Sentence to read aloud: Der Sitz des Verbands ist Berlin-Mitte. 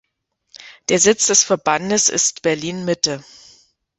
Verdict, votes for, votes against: rejected, 0, 2